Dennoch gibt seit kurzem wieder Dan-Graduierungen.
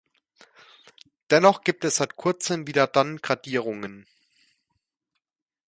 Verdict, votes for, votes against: rejected, 1, 2